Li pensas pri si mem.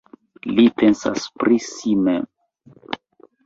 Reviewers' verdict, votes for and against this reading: accepted, 2, 0